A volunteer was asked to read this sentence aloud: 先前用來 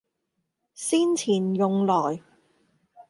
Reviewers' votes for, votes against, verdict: 0, 2, rejected